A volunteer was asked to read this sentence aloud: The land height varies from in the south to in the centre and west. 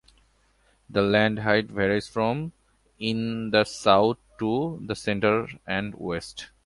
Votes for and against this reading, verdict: 2, 0, accepted